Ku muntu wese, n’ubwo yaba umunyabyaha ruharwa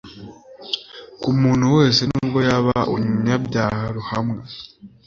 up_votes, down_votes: 1, 2